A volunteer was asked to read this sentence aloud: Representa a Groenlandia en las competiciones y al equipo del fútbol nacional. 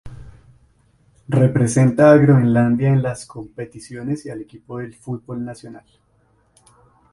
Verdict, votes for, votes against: accepted, 2, 0